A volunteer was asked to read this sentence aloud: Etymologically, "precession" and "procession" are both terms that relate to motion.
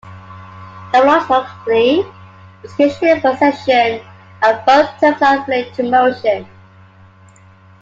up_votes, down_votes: 1, 2